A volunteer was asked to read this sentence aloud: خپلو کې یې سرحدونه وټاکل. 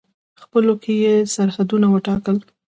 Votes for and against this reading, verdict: 2, 0, accepted